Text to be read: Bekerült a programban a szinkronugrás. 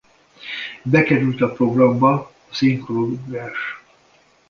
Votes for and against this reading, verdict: 1, 2, rejected